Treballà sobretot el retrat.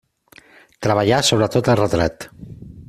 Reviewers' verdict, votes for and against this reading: accepted, 2, 0